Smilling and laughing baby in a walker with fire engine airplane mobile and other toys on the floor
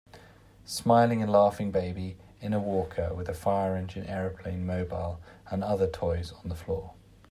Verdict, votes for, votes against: rejected, 1, 2